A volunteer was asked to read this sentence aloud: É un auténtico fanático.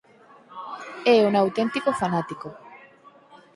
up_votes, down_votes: 0, 4